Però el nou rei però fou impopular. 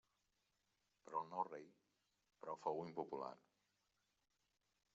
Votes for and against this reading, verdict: 1, 2, rejected